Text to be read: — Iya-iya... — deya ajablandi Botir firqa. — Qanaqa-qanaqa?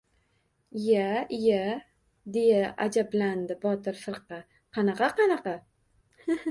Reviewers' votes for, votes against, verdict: 1, 2, rejected